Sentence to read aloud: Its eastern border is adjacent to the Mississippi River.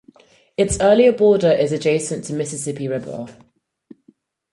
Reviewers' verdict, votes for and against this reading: rejected, 2, 4